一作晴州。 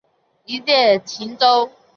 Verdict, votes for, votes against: accepted, 2, 1